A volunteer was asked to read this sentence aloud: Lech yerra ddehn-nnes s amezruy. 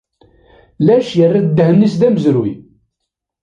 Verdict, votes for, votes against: rejected, 0, 2